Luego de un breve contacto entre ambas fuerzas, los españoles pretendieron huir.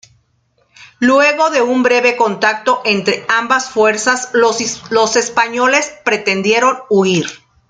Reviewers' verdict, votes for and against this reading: rejected, 1, 2